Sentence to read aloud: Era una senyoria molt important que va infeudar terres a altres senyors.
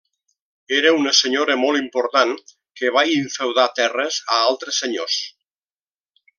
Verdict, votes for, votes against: rejected, 0, 2